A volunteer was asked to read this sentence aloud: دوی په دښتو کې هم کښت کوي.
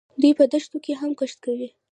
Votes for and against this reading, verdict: 1, 2, rejected